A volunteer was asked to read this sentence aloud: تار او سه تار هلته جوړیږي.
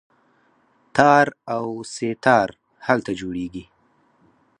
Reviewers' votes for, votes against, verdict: 2, 4, rejected